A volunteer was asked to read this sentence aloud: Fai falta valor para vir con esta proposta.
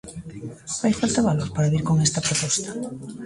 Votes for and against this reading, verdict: 2, 0, accepted